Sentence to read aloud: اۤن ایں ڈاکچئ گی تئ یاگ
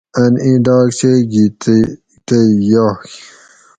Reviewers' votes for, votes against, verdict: 2, 2, rejected